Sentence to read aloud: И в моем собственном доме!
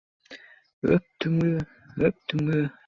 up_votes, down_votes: 0, 2